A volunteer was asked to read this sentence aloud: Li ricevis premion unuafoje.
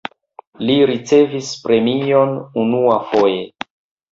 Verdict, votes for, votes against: accepted, 2, 0